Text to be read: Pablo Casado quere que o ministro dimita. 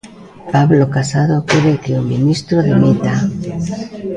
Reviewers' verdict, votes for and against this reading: rejected, 0, 2